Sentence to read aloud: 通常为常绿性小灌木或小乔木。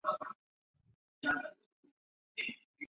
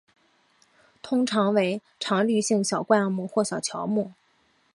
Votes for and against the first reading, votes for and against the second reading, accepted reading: 1, 4, 6, 0, second